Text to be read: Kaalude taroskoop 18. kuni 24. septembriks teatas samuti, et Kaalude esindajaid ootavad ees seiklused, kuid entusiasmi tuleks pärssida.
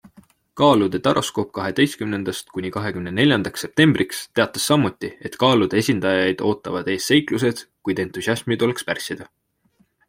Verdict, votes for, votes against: rejected, 0, 2